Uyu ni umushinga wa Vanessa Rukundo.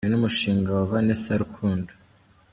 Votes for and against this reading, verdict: 0, 2, rejected